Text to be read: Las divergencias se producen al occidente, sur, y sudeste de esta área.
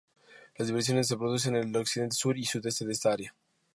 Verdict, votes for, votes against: rejected, 0, 2